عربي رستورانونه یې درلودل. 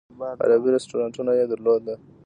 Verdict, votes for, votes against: rejected, 1, 2